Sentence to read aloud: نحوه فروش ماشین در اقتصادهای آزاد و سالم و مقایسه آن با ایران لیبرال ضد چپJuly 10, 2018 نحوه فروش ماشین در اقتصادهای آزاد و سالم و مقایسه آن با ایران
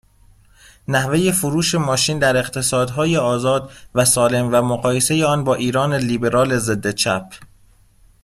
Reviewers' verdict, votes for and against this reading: rejected, 0, 2